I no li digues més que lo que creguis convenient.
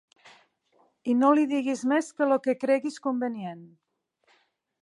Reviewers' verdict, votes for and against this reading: accepted, 2, 0